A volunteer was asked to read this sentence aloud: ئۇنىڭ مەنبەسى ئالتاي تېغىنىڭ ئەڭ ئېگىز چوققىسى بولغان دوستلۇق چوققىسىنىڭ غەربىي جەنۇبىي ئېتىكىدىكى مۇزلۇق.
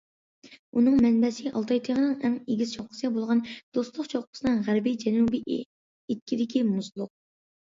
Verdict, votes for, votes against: rejected, 0, 2